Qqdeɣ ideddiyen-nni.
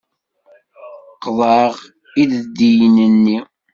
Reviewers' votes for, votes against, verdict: 1, 2, rejected